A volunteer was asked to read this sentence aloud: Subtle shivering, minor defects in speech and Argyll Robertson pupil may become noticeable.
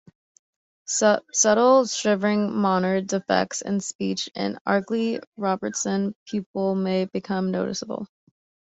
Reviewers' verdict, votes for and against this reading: rejected, 0, 2